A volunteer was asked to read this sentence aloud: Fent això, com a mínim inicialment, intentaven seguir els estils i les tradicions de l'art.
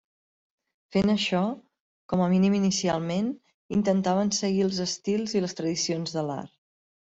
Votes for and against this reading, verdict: 3, 0, accepted